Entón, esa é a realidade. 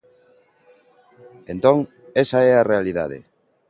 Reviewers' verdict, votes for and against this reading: accepted, 2, 0